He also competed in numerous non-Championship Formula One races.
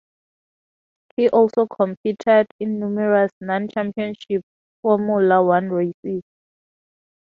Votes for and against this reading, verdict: 2, 0, accepted